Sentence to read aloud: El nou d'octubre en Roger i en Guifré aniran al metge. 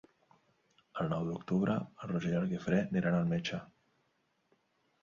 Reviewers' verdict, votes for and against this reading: accepted, 2, 0